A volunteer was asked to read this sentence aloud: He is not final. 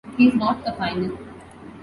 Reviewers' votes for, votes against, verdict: 1, 2, rejected